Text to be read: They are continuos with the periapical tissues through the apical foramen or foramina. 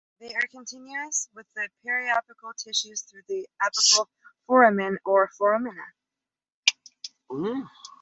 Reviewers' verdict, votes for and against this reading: rejected, 2, 3